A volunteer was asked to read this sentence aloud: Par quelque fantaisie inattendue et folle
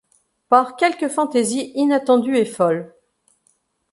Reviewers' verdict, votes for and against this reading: accepted, 2, 0